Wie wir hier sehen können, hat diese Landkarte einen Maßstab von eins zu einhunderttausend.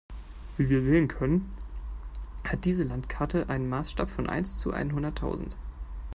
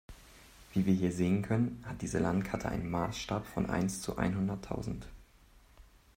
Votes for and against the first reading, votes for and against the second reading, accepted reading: 1, 2, 3, 1, second